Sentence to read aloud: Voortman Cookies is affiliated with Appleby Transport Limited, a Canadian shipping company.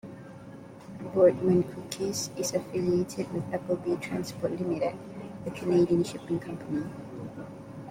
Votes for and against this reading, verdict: 1, 2, rejected